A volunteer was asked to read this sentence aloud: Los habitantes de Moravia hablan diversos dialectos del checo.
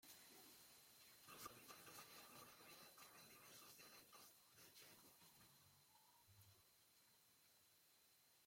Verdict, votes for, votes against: rejected, 0, 2